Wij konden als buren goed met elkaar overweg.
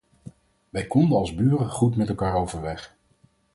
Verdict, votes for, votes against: accepted, 4, 0